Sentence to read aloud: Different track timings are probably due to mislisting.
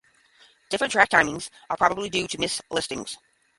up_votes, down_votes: 0, 5